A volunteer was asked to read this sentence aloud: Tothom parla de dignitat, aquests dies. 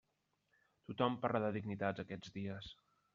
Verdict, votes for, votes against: rejected, 1, 2